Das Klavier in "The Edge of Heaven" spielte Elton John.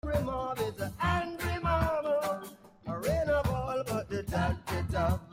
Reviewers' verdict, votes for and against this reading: rejected, 0, 2